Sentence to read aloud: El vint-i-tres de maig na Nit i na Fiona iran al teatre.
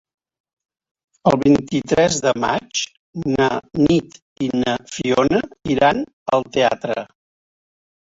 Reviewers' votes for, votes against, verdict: 4, 1, accepted